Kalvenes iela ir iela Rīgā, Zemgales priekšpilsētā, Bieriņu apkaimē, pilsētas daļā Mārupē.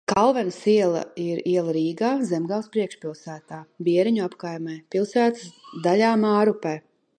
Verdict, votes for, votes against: accepted, 2, 0